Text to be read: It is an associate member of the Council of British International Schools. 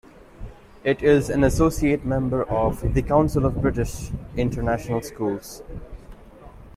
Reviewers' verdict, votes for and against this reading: accepted, 2, 0